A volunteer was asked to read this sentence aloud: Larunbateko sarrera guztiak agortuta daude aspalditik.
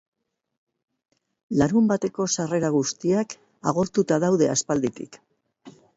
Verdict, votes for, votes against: accepted, 4, 0